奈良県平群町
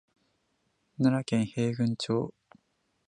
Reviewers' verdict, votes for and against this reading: accepted, 2, 0